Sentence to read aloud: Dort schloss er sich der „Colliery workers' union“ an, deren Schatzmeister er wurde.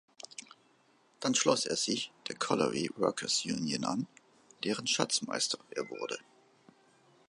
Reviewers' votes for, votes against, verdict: 0, 2, rejected